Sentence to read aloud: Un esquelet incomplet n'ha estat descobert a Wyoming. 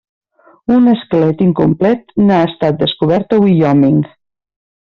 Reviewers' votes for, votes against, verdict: 1, 2, rejected